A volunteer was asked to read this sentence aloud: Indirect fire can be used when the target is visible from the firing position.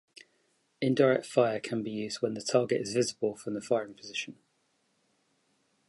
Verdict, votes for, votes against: accepted, 2, 0